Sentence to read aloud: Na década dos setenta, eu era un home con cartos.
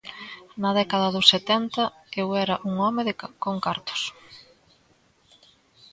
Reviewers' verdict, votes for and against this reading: rejected, 0, 2